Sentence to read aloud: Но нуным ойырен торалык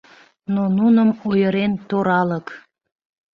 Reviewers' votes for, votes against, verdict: 2, 0, accepted